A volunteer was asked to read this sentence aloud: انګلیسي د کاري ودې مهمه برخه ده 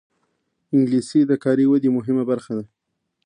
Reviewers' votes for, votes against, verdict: 0, 2, rejected